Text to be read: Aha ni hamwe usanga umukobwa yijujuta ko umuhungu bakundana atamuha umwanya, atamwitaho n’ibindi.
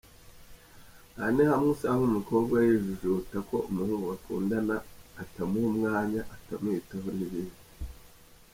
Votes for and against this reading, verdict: 1, 2, rejected